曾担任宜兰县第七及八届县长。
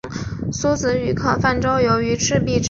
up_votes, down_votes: 0, 2